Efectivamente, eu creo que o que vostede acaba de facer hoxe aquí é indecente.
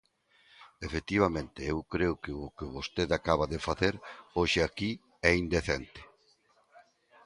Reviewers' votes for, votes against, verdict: 2, 1, accepted